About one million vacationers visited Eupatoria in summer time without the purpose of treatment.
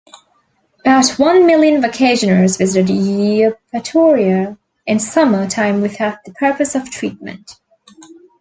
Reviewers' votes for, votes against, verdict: 2, 0, accepted